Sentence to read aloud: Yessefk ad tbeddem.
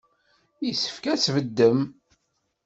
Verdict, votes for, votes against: accepted, 2, 0